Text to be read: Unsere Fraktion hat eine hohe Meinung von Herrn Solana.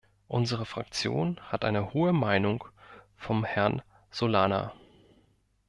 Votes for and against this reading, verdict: 0, 2, rejected